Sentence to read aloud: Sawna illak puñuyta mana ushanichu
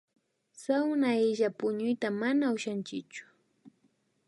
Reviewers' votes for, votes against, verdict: 0, 2, rejected